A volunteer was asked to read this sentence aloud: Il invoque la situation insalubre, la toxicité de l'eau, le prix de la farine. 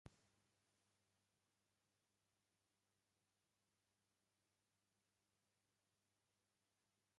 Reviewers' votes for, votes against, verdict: 0, 2, rejected